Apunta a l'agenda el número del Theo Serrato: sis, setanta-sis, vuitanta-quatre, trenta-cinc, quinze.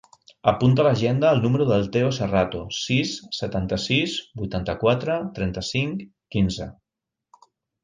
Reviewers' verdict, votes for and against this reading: accepted, 4, 0